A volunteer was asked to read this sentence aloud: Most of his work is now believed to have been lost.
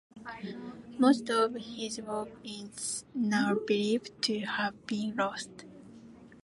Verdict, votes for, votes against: accepted, 2, 0